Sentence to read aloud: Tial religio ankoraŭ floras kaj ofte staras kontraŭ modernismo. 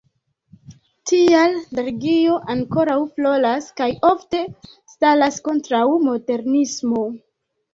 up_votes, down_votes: 1, 2